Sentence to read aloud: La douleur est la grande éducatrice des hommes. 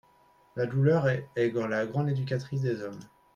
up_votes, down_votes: 1, 4